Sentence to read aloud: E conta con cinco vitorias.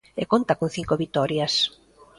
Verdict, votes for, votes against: rejected, 1, 2